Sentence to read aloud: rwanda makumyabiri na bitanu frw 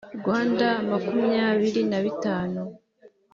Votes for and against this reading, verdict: 1, 2, rejected